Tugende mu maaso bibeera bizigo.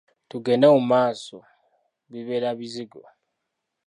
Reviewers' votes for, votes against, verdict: 2, 1, accepted